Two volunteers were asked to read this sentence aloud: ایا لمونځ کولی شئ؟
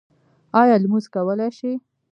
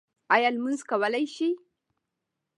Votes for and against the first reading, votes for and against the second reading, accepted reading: 1, 2, 2, 1, second